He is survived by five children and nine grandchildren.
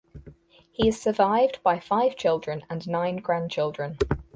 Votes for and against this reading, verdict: 4, 0, accepted